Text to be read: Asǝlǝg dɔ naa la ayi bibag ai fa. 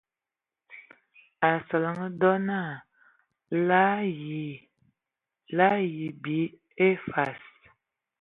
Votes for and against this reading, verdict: 2, 0, accepted